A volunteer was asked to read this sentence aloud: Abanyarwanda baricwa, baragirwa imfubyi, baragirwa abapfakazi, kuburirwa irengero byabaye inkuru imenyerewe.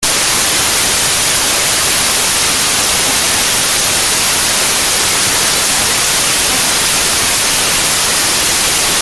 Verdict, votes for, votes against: rejected, 0, 2